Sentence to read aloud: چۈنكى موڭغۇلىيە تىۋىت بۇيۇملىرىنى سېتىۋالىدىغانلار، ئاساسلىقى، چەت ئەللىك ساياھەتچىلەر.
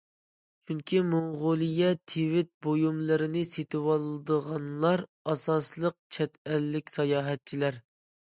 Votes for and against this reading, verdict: 0, 2, rejected